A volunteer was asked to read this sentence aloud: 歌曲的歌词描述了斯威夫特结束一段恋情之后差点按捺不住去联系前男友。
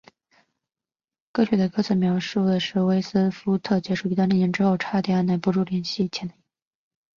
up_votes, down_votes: 3, 1